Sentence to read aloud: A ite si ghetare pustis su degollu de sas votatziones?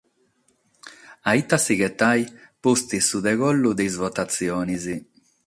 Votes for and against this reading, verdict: 6, 0, accepted